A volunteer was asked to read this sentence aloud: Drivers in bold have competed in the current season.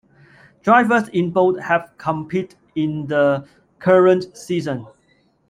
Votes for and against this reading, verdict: 0, 2, rejected